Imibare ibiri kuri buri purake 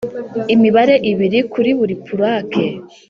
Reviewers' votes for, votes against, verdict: 2, 0, accepted